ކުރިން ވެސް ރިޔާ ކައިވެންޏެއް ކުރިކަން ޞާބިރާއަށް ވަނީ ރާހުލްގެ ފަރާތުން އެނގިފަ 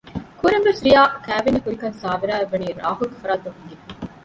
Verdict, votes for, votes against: rejected, 0, 2